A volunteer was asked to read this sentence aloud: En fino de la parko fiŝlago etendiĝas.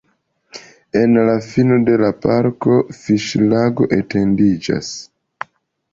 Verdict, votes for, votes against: rejected, 1, 2